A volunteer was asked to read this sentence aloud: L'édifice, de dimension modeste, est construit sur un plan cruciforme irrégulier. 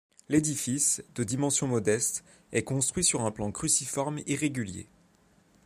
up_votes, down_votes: 2, 0